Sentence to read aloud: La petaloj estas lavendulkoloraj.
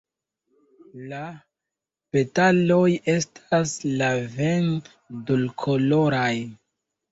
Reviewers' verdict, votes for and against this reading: rejected, 1, 2